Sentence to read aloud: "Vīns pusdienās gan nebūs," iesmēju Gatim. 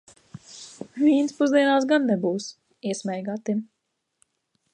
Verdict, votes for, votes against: accepted, 2, 0